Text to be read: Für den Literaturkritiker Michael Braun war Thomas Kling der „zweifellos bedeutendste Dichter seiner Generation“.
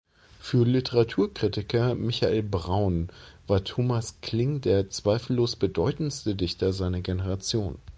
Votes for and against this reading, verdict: 2, 0, accepted